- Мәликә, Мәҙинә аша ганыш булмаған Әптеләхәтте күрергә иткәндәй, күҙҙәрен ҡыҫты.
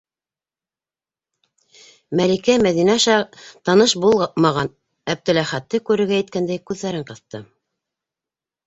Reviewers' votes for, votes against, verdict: 2, 0, accepted